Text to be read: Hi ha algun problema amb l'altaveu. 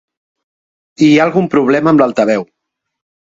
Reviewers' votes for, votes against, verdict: 2, 0, accepted